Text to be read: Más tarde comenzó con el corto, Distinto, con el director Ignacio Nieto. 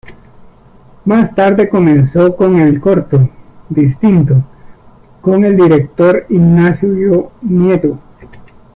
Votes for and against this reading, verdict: 2, 1, accepted